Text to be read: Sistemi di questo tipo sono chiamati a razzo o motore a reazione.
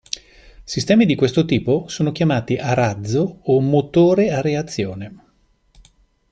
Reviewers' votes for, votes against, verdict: 2, 0, accepted